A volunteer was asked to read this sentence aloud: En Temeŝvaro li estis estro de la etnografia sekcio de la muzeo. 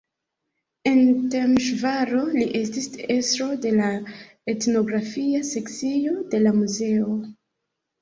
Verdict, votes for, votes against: rejected, 0, 2